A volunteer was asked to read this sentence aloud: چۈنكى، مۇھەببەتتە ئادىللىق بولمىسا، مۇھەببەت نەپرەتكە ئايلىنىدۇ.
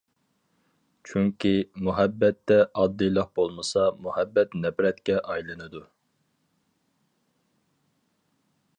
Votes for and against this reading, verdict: 2, 2, rejected